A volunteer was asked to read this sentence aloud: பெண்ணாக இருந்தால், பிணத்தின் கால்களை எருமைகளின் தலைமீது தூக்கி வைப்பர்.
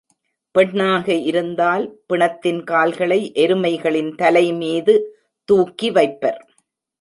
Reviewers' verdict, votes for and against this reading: accepted, 2, 0